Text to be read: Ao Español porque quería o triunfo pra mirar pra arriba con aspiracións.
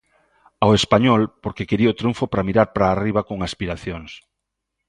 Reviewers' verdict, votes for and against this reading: accepted, 2, 1